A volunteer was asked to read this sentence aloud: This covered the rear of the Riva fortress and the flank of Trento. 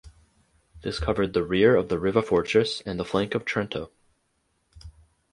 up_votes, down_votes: 4, 0